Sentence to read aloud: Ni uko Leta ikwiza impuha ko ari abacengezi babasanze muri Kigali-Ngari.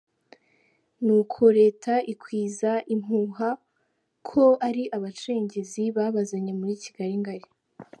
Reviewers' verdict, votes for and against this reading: rejected, 1, 2